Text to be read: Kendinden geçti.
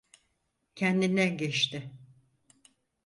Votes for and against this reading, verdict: 4, 0, accepted